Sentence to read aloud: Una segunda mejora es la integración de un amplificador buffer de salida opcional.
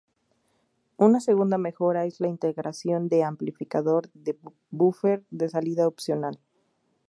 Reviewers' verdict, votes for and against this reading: rejected, 2, 2